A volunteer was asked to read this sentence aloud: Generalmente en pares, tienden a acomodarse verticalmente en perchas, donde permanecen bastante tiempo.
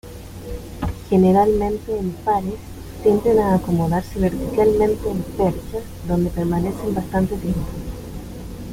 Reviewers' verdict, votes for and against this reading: accepted, 2, 0